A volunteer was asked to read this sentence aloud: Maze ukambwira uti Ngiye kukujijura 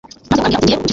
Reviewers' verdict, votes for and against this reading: rejected, 0, 2